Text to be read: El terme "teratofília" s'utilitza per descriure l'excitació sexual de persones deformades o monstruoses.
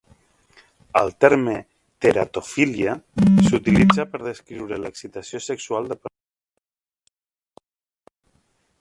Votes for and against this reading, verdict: 0, 2, rejected